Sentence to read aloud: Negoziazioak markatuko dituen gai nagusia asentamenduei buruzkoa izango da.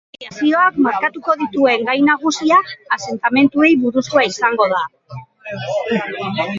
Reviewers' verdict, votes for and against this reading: rejected, 1, 2